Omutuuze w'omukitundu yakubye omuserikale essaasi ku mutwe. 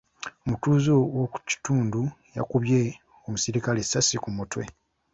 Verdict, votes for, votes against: accepted, 2, 1